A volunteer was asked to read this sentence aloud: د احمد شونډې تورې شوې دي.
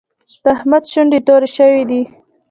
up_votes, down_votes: 1, 2